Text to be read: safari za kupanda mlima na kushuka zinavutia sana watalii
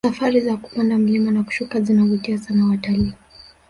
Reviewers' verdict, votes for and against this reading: rejected, 1, 2